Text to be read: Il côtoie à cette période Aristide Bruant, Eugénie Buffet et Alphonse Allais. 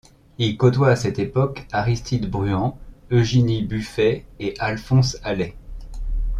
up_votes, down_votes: 0, 2